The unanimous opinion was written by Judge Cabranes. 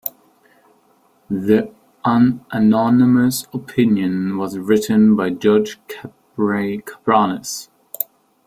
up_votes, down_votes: 0, 2